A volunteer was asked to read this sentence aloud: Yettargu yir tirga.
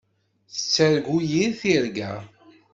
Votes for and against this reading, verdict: 1, 2, rejected